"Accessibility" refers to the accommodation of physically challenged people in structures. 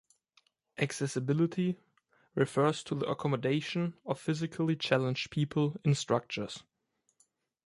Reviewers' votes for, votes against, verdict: 2, 0, accepted